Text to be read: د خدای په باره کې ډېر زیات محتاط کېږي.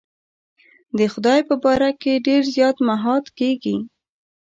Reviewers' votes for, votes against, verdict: 0, 2, rejected